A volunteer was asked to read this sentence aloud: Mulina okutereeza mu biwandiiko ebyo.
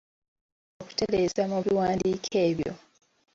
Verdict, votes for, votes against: rejected, 1, 2